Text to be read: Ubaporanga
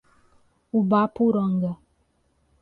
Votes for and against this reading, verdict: 1, 2, rejected